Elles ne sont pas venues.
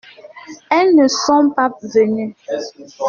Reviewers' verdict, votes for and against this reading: rejected, 1, 2